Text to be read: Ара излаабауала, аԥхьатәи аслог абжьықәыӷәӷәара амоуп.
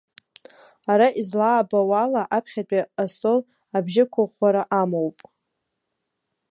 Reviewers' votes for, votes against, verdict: 1, 2, rejected